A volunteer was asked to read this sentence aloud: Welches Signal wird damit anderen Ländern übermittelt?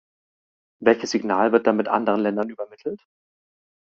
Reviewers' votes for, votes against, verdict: 2, 0, accepted